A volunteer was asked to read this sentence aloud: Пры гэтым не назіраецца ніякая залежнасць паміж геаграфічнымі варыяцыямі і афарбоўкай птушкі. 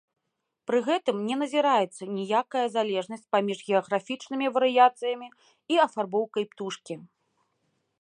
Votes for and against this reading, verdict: 2, 0, accepted